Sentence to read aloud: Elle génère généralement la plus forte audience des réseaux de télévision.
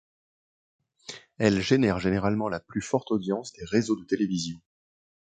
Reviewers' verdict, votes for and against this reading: accepted, 2, 1